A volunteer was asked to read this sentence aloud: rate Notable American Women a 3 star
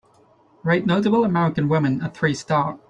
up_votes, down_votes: 0, 2